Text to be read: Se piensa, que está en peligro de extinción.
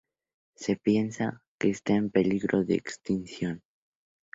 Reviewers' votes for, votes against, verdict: 2, 2, rejected